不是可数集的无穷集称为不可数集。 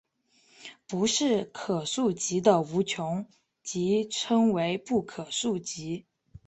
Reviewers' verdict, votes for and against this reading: rejected, 2, 4